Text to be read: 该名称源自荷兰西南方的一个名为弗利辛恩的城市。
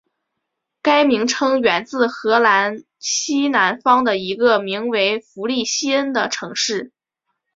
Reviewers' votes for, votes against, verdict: 2, 0, accepted